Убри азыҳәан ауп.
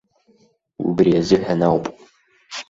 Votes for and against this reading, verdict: 2, 0, accepted